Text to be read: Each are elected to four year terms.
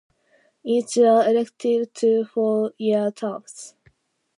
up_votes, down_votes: 0, 2